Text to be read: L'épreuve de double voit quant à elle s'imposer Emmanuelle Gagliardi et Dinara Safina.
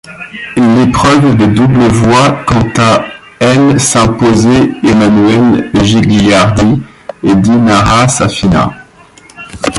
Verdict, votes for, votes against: rejected, 0, 2